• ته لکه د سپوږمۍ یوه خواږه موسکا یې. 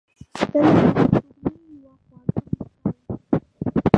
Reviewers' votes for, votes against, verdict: 0, 2, rejected